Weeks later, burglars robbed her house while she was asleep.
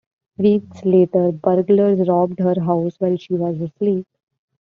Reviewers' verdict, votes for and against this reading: accepted, 2, 0